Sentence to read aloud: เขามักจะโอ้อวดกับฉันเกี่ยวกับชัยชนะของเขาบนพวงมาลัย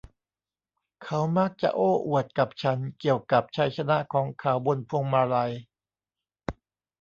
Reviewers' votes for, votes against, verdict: 2, 0, accepted